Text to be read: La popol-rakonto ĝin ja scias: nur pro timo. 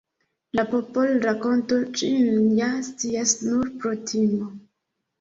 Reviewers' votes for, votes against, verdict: 0, 2, rejected